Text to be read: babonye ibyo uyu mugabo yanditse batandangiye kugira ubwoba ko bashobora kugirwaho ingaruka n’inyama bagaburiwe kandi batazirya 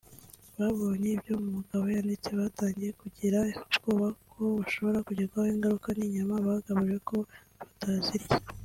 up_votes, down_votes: 1, 2